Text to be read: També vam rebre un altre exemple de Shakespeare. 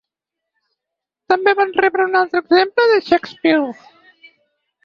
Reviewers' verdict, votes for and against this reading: rejected, 0, 4